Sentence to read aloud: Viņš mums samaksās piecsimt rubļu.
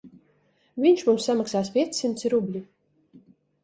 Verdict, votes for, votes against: rejected, 1, 2